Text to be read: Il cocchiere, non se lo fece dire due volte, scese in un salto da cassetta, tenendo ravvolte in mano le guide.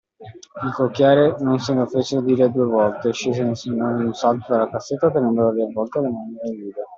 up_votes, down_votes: 0, 2